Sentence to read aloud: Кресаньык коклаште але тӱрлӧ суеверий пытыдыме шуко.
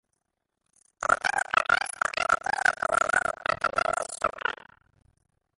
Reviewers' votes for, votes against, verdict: 0, 3, rejected